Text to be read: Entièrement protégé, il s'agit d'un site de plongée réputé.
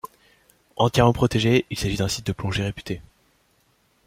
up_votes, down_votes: 2, 0